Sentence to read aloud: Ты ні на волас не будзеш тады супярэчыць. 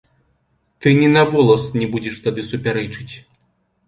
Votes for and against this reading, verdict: 2, 0, accepted